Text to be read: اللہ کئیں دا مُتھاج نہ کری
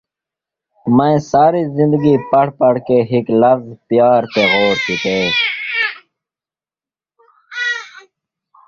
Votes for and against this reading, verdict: 1, 2, rejected